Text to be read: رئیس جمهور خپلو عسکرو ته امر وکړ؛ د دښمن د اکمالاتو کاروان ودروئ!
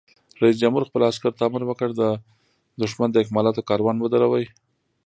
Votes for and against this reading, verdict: 2, 0, accepted